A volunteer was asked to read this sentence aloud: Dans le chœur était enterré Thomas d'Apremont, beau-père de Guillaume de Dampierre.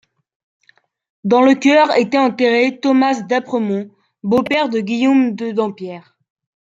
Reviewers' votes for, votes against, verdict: 2, 1, accepted